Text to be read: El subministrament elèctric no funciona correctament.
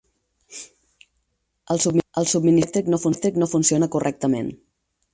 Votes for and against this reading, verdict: 2, 4, rejected